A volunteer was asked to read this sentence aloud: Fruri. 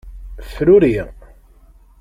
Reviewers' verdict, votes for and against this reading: accepted, 2, 0